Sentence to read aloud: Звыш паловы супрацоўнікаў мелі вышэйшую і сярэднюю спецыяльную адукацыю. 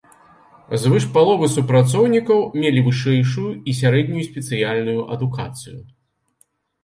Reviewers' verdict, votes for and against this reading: accepted, 2, 0